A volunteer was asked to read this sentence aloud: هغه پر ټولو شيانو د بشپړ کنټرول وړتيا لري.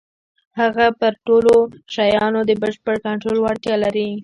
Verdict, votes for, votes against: rejected, 0, 2